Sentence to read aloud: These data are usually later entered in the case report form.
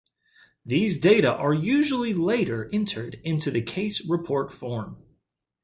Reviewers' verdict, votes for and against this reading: accepted, 2, 0